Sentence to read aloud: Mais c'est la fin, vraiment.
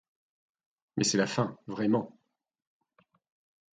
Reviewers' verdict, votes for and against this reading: accepted, 2, 0